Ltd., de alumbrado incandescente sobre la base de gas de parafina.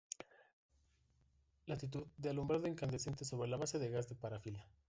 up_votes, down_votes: 1, 2